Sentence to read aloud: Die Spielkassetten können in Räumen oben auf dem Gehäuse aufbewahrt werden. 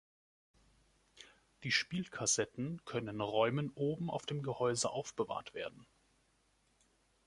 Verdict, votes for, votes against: rejected, 1, 2